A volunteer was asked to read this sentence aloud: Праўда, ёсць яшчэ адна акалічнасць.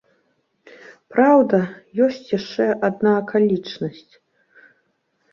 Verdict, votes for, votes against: accepted, 2, 0